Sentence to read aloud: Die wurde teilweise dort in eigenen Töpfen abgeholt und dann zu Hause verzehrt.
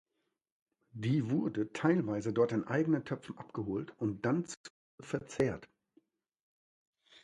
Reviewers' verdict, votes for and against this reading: rejected, 0, 2